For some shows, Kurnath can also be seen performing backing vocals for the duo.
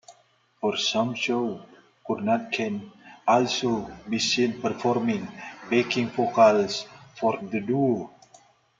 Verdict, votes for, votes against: rejected, 0, 2